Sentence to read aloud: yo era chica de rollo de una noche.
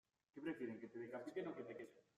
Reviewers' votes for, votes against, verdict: 0, 2, rejected